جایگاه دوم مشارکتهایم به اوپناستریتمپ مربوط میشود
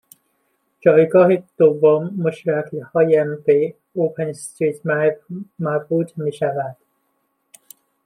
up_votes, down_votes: 1, 2